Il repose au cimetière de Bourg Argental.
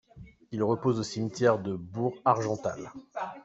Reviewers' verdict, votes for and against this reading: accepted, 2, 0